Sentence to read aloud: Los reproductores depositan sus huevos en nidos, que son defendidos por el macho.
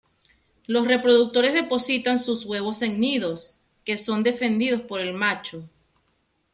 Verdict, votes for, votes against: accepted, 2, 0